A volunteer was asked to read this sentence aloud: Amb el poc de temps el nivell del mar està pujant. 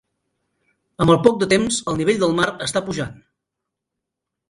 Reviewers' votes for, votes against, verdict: 3, 1, accepted